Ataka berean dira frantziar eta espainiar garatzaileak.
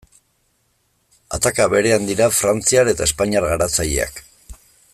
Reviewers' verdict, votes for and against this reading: accepted, 2, 0